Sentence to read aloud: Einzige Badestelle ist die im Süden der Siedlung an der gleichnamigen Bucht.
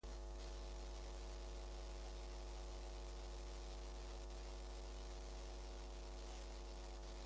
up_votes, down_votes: 0, 2